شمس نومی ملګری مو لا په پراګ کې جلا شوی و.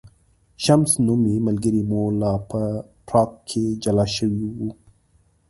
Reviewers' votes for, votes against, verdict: 2, 0, accepted